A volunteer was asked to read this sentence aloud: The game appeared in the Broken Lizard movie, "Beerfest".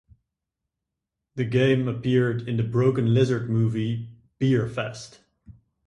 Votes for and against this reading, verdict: 2, 0, accepted